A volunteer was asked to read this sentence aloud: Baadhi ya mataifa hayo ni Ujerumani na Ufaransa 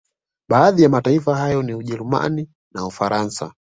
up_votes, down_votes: 1, 2